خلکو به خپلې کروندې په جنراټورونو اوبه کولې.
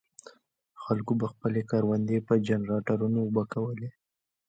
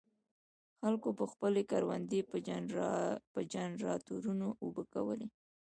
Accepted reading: first